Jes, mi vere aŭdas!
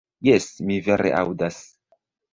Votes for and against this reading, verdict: 0, 2, rejected